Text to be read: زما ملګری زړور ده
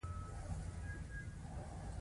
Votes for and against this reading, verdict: 1, 2, rejected